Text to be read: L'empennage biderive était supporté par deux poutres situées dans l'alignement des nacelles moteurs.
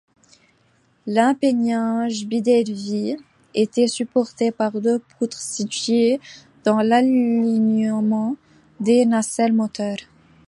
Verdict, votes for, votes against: rejected, 0, 2